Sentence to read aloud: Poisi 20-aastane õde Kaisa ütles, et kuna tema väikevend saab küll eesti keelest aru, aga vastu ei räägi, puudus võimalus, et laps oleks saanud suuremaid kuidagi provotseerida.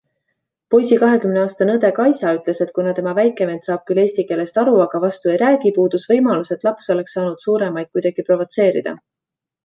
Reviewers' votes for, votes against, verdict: 0, 2, rejected